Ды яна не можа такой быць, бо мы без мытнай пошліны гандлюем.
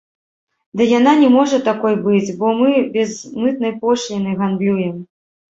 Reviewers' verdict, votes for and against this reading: rejected, 0, 2